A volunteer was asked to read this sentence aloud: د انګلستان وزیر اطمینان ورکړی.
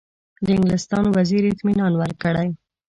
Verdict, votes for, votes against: accepted, 2, 0